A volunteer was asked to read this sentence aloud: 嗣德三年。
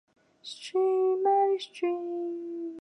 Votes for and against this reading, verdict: 0, 2, rejected